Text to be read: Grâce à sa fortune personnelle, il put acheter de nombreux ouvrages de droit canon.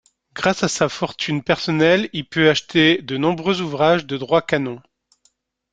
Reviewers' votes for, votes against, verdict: 2, 0, accepted